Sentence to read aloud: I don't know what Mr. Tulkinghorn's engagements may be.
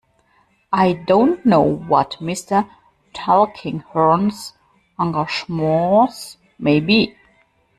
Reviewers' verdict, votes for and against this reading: rejected, 0, 2